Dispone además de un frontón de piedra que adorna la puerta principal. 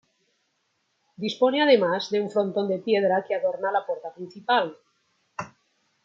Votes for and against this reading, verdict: 2, 0, accepted